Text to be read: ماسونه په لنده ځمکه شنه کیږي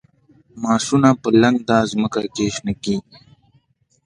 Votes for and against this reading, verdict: 2, 0, accepted